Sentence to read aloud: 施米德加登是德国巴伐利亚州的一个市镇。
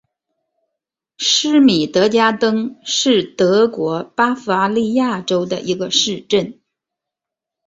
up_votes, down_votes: 1, 2